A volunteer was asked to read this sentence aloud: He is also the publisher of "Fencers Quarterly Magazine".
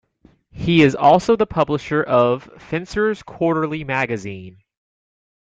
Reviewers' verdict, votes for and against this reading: rejected, 0, 2